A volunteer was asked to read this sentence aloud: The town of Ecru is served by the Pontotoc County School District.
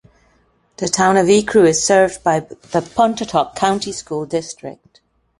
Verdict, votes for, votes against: accepted, 2, 1